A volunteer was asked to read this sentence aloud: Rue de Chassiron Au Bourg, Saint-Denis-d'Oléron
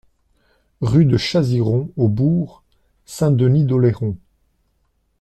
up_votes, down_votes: 1, 2